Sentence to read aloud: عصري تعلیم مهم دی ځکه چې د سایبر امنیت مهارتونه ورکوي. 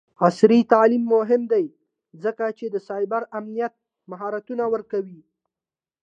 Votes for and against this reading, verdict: 2, 0, accepted